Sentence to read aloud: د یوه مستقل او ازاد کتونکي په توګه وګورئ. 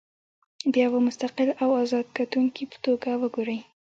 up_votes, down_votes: 1, 2